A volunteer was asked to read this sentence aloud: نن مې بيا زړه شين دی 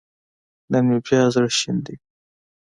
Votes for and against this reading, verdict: 2, 0, accepted